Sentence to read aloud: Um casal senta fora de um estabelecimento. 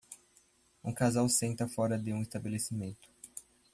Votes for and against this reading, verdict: 2, 0, accepted